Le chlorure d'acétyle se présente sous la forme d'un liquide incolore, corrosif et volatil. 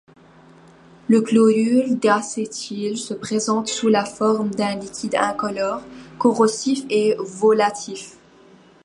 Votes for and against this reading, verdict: 0, 2, rejected